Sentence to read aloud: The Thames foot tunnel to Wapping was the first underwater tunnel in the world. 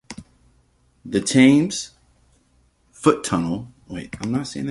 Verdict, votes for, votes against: rejected, 0, 2